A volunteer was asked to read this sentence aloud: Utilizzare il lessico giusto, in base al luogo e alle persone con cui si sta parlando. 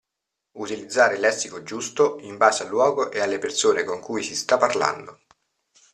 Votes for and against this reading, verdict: 2, 0, accepted